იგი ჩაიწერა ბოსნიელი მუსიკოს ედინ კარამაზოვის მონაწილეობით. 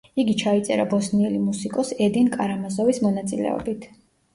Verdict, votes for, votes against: accepted, 2, 1